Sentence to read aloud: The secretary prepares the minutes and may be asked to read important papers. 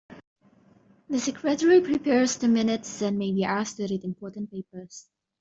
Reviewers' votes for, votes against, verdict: 0, 2, rejected